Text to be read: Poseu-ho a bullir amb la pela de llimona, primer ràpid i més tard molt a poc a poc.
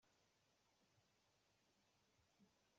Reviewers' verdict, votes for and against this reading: rejected, 0, 2